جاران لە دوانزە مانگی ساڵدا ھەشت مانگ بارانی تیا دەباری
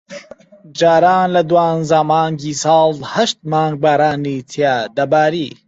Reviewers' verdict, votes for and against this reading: rejected, 1, 2